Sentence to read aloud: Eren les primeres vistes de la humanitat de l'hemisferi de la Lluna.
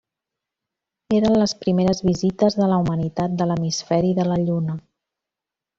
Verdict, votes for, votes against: rejected, 1, 2